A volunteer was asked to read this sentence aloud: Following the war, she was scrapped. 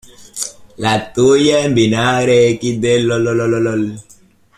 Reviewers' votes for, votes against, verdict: 0, 2, rejected